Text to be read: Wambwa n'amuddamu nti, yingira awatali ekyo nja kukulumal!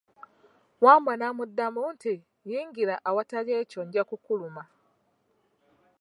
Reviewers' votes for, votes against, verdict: 2, 0, accepted